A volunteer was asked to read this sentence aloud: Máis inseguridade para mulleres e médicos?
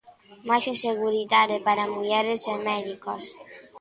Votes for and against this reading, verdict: 1, 2, rejected